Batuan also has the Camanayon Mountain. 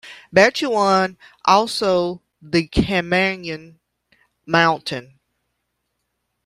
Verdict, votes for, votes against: rejected, 0, 2